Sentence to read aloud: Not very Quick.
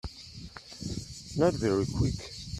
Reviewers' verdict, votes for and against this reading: accepted, 2, 0